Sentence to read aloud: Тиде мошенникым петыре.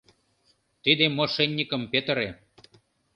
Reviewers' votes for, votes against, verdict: 5, 0, accepted